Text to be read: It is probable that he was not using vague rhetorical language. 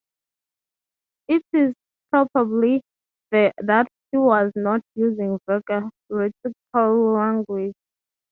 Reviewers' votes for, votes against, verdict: 0, 6, rejected